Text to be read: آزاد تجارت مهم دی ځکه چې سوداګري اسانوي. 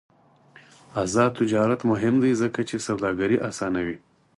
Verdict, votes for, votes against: accepted, 4, 0